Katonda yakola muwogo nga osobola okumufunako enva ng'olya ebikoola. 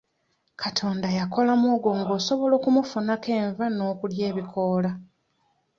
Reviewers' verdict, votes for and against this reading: rejected, 1, 2